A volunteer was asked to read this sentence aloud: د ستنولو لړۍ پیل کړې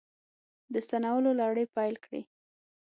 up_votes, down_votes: 6, 0